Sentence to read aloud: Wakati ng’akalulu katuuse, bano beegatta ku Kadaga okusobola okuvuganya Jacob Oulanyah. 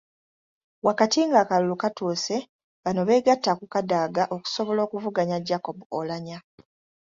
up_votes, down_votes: 2, 0